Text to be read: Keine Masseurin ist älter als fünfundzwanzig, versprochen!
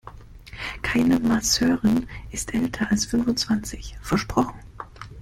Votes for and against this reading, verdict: 1, 2, rejected